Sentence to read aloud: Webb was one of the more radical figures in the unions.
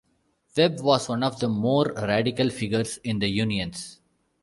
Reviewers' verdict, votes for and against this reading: accepted, 2, 0